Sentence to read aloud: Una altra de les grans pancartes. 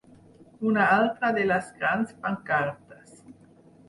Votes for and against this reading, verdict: 6, 0, accepted